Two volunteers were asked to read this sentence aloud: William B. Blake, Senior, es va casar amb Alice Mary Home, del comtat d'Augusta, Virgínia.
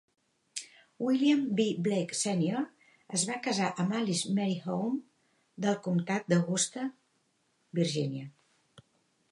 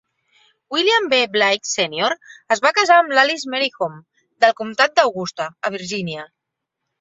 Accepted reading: first